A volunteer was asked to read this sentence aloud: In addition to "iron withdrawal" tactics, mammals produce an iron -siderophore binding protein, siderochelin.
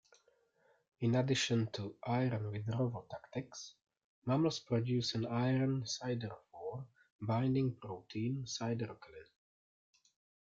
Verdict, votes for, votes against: rejected, 1, 2